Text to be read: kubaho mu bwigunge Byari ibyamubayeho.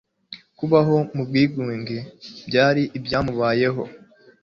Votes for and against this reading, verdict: 2, 0, accepted